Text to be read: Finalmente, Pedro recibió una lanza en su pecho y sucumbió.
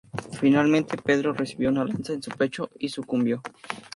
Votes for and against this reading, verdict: 2, 0, accepted